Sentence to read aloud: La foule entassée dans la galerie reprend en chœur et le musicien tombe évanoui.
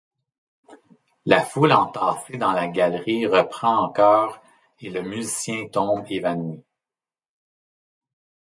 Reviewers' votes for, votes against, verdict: 2, 0, accepted